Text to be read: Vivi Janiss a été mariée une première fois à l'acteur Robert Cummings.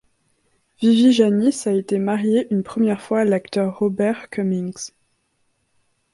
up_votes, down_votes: 2, 0